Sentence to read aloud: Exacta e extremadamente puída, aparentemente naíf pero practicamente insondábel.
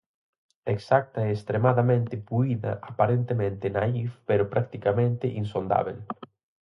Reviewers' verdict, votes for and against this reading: accepted, 4, 0